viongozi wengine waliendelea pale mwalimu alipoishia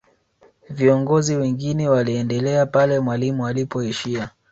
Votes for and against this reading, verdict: 3, 0, accepted